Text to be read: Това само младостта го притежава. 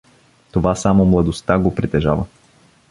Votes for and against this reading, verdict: 2, 0, accepted